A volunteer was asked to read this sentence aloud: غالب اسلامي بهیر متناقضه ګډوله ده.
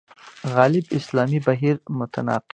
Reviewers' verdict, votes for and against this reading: rejected, 0, 2